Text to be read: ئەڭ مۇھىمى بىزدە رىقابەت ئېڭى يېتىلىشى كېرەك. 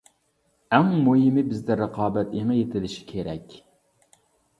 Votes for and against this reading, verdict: 2, 0, accepted